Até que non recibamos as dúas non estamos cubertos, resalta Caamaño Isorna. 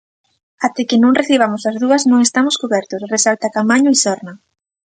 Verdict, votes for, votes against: accepted, 2, 0